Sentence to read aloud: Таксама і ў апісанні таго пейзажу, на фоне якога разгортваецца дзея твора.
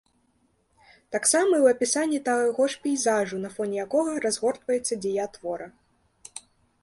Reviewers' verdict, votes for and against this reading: rejected, 0, 3